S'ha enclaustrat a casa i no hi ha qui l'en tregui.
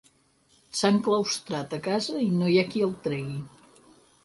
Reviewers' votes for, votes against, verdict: 2, 6, rejected